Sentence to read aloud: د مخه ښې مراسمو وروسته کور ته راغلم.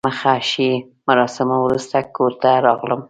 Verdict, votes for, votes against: accepted, 2, 0